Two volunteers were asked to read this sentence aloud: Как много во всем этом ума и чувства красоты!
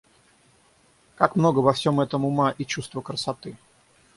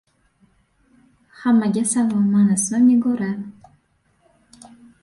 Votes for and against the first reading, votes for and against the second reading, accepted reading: 6, 0, 0, 2, first